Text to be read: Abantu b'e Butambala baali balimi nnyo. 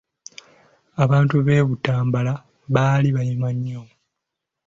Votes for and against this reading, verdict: 1, 3, rejected